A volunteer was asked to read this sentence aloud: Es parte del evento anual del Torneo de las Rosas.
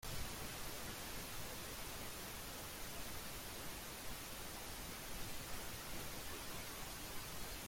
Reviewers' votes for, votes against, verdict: 0, 2, rejected